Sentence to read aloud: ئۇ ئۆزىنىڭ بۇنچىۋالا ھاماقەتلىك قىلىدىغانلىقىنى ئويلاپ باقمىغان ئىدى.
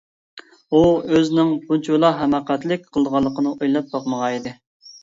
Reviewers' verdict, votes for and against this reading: accepted, 2, 0